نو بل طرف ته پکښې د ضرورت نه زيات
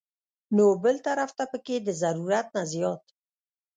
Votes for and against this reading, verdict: 1, 2, rejected